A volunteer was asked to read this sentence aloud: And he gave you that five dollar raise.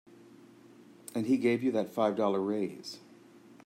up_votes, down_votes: 2, 0